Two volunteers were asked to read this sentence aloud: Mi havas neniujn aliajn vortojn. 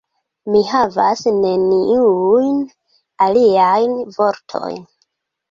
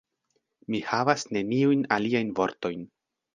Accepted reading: second